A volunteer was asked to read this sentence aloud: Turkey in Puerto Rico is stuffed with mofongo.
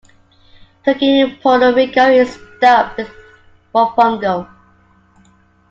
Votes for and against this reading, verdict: 2, 1, accepted